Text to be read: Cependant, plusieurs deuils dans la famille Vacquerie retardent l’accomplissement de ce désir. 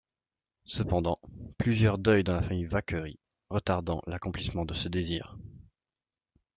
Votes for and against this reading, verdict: 0, 2, rejected